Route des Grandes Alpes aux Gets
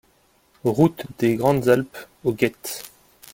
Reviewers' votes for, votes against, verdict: 3, 0, accepted